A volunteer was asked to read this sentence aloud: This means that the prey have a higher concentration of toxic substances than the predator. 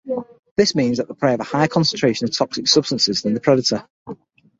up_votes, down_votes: 3, 6